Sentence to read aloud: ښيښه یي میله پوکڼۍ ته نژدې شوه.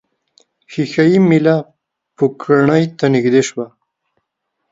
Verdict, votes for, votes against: accepted, 2, 0